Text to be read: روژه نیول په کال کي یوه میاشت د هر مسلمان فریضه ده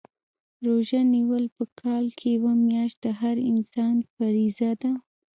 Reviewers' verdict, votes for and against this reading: accepted, 3, 1